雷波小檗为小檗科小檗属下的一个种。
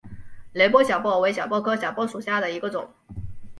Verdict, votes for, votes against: rejected, 0, 3